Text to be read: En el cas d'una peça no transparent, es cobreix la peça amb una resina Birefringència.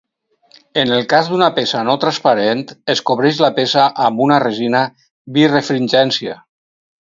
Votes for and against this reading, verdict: 4, 0, accepted